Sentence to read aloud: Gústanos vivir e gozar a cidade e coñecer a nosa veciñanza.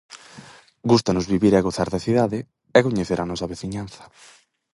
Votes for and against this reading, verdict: 0, 4, rejected